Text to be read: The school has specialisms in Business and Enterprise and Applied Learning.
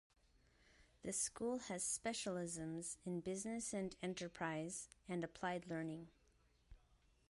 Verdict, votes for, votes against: accepted, 2, 0